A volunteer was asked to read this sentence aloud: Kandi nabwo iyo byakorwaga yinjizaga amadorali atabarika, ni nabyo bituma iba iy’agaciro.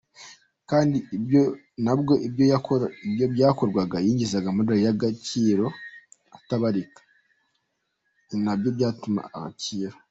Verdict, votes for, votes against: rejected, 0, 2